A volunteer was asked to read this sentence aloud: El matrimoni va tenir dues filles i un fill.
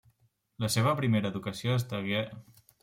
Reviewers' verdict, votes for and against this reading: rejected, 0, 2